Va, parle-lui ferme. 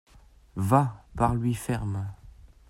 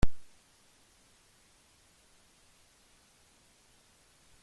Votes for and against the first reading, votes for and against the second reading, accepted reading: 2, 0, 0, 2, first